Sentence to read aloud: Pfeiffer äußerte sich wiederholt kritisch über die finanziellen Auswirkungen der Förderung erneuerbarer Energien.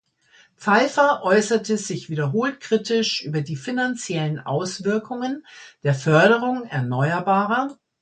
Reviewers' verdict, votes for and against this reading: rejected, 0, 2